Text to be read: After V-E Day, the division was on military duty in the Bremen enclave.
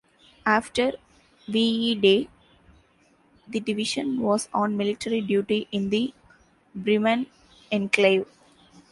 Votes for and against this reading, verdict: 1, 2, rejected